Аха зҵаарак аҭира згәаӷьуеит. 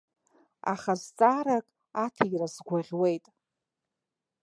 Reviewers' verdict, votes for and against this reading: accepted, 2, 0